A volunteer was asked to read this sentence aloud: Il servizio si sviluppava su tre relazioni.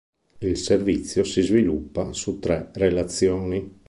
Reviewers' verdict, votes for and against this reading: rejected, 1, 2